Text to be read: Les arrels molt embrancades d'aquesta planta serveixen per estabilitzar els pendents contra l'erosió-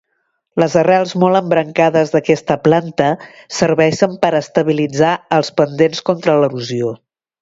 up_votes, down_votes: 2, 0